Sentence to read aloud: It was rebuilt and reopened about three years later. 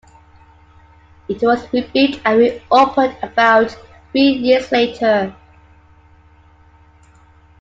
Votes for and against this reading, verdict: 2, 1, accepted